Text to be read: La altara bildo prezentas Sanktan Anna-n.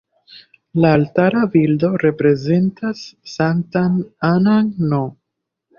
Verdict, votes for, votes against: rejected, 1, 2